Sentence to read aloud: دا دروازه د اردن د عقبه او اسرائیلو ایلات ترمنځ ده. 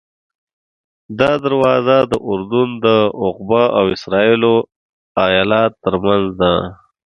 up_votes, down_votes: 2, 0